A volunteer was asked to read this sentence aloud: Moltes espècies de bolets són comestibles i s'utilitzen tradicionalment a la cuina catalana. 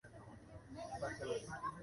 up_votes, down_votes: 1, 2